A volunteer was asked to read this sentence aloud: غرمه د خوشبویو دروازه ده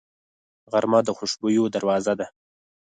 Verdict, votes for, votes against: accepted, 4, 0